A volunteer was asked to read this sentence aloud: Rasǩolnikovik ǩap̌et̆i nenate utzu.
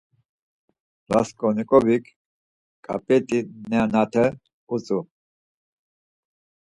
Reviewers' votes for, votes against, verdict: 4, 0, accepted